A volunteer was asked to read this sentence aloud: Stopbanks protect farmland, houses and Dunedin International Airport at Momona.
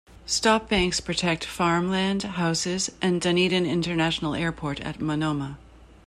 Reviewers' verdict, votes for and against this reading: rejected, 0, 2